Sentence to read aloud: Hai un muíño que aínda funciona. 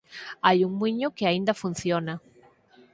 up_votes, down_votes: 4, 0